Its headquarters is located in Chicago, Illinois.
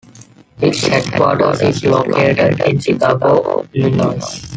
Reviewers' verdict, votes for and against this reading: accepted, 2, 1